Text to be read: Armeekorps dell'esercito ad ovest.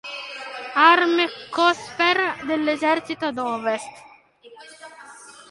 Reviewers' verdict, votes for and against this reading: rejected, 0, 2